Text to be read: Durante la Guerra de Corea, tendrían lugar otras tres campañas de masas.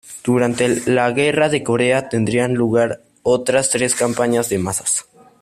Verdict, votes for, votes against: accepted, 2, 0